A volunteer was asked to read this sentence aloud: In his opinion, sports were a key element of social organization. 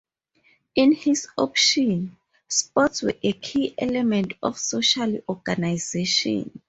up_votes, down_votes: 0, 2